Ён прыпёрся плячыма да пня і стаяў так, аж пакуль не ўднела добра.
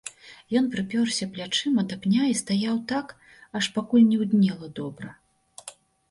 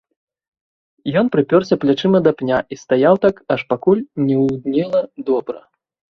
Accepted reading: first